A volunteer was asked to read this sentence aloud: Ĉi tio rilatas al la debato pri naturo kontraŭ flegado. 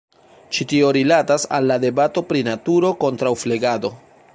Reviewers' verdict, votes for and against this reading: accepted, 2, 0